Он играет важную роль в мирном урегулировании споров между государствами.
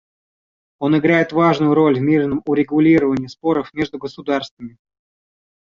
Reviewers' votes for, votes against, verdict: 2, 0, accepted